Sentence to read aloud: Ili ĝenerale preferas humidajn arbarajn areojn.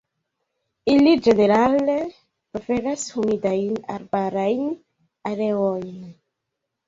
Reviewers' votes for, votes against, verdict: 0, 2, rejected